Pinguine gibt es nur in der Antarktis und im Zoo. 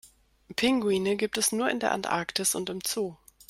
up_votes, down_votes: 2, 0